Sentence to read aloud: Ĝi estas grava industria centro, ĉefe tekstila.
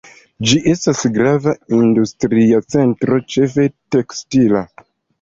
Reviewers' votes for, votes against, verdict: 2, 0, accepted